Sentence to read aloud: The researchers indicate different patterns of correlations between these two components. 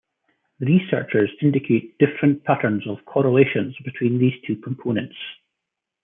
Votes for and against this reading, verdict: 0, 2, rejected